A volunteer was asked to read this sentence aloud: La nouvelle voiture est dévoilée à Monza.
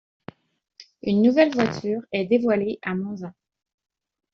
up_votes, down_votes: 1, 2